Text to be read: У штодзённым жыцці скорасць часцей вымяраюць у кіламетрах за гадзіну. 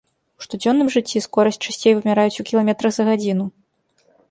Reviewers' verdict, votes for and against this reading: rejected, 0, 2